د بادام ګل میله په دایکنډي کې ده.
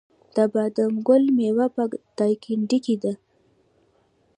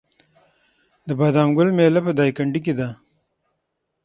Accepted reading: second